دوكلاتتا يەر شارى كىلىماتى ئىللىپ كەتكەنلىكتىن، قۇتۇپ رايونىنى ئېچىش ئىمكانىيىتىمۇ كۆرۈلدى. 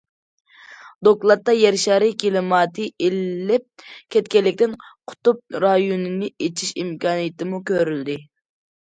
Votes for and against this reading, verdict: 2, 0, accepted